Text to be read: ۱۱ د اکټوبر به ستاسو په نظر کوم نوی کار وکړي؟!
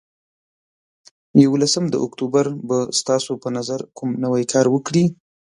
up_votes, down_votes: 0, 2